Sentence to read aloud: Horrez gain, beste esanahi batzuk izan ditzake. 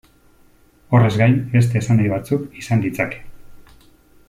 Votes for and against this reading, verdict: 2, 0, accepted